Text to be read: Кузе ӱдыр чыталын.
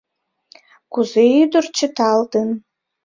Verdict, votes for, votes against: rejected, 0, 2